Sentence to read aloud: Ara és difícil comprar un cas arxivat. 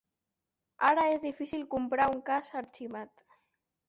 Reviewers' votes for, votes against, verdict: 1, 2, rejected